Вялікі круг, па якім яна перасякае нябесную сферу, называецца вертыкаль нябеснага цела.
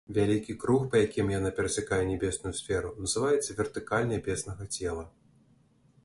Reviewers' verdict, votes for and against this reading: accepted, 2, 0